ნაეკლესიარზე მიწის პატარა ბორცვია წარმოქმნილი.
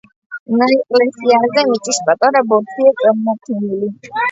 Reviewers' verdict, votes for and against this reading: accepted, 2, 1